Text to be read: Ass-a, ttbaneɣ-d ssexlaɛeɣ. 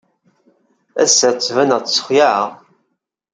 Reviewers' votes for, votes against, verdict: 2, 0, accepted